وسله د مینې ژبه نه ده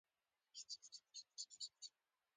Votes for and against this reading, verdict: 0, 2, rejected